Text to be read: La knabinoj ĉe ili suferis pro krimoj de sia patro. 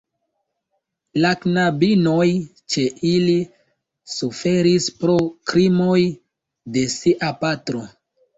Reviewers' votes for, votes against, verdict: 2, 0, accepted